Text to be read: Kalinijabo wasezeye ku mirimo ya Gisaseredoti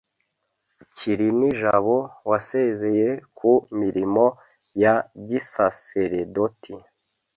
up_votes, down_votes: 0, 2